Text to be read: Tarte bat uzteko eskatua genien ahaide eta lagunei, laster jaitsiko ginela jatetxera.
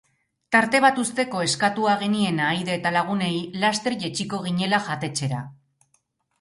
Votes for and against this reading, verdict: 2, 2, rejected